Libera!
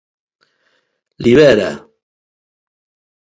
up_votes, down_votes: 2, 0